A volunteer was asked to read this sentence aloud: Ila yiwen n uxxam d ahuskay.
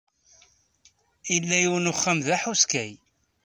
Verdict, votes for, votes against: rejected, 1, 2